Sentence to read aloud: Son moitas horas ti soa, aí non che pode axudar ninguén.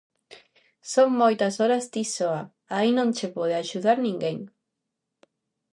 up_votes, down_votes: 2, 0